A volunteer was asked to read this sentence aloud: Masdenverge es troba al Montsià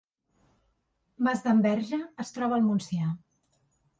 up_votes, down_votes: 3, 0